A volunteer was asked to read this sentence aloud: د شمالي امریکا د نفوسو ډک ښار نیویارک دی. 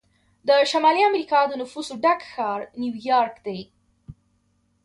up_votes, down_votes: 1, 2